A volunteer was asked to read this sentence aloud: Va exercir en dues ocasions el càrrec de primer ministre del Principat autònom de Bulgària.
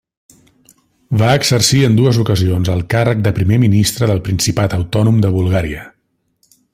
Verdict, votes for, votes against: accepted, 3, 1